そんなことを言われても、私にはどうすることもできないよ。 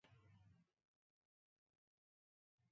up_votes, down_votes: 0, 2